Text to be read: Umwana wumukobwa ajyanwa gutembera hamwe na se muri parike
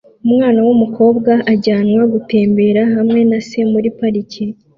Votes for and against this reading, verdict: 2, 0, accepted